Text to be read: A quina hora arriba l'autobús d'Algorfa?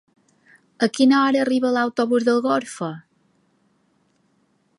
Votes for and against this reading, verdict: 2, 0, accepted